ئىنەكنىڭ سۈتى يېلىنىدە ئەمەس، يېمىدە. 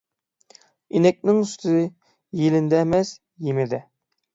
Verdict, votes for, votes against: accepted, 9, 3